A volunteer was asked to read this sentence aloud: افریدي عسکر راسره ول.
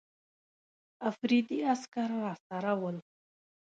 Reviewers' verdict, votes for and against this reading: accepted, 2, 0